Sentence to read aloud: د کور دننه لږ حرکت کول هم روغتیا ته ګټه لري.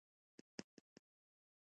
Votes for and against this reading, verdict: 2, 0, accepted